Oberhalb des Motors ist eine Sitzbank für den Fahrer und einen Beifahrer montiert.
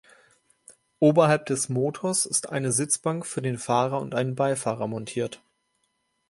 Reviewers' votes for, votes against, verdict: 2, 0, accepted